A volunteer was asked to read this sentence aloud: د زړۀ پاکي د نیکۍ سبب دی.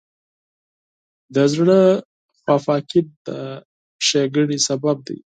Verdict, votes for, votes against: rejected, 0, 4